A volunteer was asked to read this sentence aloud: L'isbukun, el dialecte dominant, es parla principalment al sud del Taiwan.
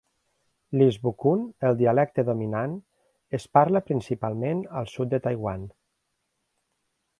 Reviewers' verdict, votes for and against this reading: rejected, 1, 2